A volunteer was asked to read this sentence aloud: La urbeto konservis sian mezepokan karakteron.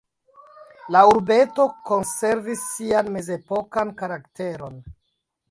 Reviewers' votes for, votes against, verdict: 1, 2, rejected